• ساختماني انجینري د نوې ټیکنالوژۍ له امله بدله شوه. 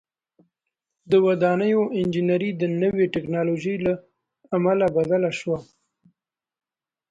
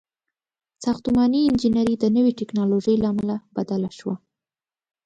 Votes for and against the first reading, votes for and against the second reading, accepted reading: 0, 2, 2, 1, second